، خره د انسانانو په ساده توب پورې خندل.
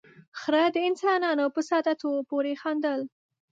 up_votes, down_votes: 7, 1